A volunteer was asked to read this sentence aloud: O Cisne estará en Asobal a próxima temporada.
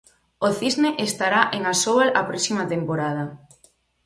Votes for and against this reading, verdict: 0, 4, rejected